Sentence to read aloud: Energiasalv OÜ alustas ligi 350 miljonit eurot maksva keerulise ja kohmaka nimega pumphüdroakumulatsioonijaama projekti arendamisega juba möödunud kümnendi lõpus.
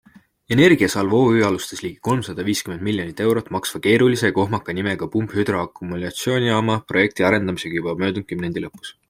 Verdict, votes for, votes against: rejected, 0, 2